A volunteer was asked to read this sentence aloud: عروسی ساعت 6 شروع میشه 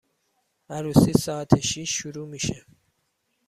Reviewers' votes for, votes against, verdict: 0, 2, rejected